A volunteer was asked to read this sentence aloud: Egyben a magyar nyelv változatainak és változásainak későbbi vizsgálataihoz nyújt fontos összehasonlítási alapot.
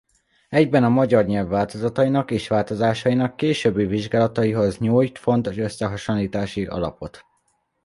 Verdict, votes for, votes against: accepted, 2, 0